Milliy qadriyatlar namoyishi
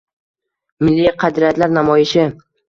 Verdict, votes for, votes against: accepted, 2, 0